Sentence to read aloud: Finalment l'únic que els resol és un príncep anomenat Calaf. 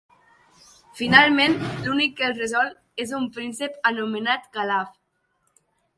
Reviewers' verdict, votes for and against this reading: accepted, 2, 0